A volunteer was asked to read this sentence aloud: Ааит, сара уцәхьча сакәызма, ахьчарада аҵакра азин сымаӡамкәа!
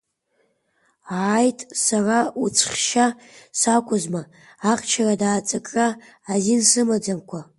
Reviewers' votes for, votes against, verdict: 2, 1, accepted